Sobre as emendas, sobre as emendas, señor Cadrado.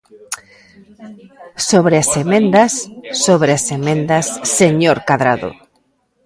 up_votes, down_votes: 1, 2